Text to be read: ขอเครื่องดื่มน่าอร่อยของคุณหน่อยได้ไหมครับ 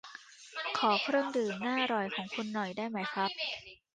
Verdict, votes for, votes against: rejected, 0, 2